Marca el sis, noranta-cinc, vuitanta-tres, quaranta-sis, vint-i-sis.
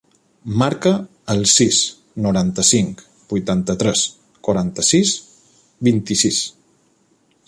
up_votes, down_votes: 3, 1